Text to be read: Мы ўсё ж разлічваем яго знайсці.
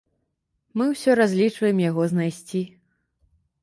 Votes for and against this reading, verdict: 0, 2, rejected